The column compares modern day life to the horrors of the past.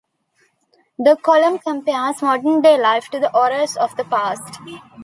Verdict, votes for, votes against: accepted, 2, 0